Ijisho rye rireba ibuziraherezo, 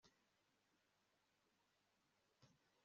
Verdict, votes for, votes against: rejected, 0, 2